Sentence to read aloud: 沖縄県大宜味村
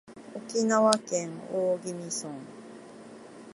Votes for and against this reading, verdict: 2, 1, accepted